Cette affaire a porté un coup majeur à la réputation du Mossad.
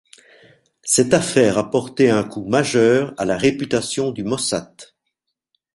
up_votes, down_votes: 1, 2